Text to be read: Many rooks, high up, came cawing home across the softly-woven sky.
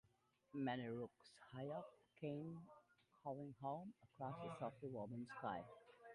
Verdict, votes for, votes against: rejected, 0, 2